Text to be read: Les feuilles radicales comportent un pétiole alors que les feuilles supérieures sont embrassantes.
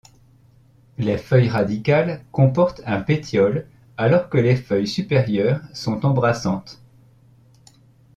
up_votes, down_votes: 2, 0